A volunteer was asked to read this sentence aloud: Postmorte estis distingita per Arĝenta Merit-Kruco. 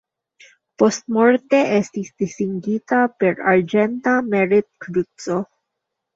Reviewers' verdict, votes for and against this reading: rejected, 0, 2